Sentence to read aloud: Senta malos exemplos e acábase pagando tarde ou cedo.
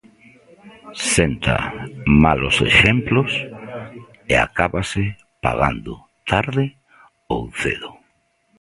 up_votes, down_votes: 1, 2